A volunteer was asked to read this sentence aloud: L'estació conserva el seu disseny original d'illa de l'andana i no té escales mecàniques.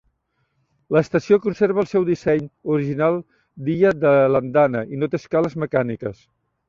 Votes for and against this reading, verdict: 2, 0, accepted